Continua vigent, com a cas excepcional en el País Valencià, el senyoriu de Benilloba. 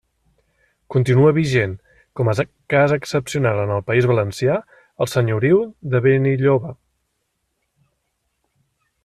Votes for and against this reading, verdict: 1, 2, rejected